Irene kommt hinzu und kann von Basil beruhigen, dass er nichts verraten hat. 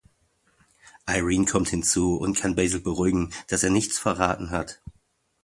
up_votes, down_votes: 0, 2